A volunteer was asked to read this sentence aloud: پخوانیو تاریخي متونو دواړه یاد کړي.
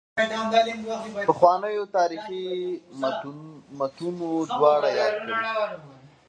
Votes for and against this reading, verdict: 1, 2, rejected